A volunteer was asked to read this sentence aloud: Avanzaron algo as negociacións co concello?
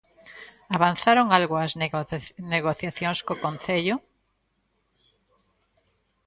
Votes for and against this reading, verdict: 1, 2, rejected